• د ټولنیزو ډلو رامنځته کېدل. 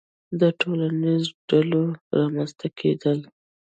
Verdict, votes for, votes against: accepted, 2, 1